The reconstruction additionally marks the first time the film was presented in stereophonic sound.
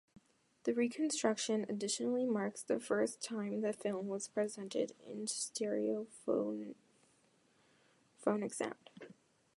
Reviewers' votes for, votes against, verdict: 1, 2, rejected